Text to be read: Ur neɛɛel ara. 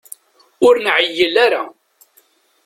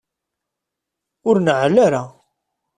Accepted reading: second